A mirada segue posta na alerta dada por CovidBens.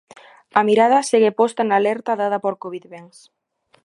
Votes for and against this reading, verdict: 2, 0, accepted